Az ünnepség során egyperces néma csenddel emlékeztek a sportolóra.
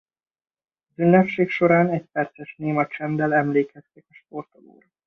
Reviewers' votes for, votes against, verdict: 1, 2, rejected